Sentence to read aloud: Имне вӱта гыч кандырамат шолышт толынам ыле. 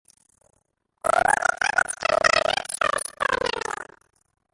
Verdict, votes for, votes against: rejected, 0, 2